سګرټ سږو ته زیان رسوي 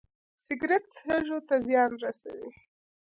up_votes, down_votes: 2, 0